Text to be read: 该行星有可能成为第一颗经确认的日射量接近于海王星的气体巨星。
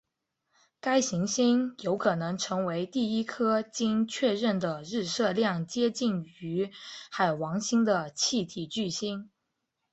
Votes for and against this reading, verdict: 5, 0, accepted